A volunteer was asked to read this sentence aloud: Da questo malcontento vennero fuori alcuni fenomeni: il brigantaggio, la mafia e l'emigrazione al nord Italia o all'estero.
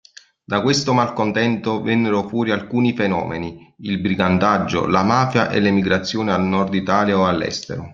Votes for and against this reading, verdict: 0, 2, rejected